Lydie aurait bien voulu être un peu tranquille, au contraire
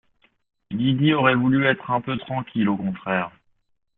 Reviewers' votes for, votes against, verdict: 2, 0, accepted